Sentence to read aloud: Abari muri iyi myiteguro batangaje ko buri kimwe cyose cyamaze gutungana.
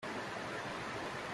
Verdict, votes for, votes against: rejected, 0, 2